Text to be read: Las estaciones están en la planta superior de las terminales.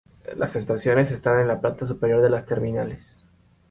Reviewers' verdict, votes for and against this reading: accepted, 2, 0